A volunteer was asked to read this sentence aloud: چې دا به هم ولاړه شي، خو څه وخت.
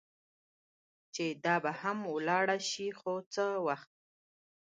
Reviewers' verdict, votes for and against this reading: accepted, 2, 1